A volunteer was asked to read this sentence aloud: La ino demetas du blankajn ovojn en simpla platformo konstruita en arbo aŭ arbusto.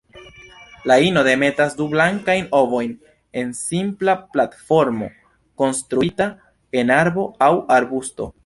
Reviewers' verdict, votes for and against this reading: accepted, 2, 1